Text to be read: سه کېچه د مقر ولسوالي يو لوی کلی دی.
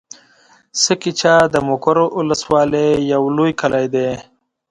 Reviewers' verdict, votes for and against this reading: accepted, 2, 0